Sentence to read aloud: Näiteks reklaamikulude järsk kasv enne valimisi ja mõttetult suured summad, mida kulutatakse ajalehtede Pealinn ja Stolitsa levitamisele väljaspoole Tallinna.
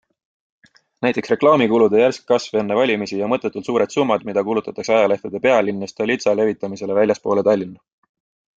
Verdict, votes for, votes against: accepted, 2, 0